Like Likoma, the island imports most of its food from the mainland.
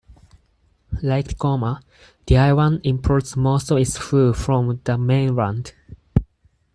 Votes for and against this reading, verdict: 0, 4, rejected